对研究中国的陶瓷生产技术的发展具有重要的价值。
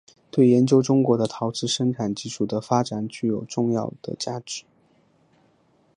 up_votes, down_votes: 2, 0